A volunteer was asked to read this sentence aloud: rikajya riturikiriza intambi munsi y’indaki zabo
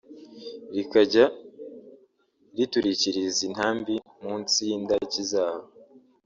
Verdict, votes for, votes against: rejected, 1, 2